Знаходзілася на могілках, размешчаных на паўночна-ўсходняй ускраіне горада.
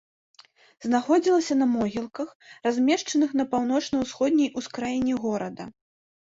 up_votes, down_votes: 2, 0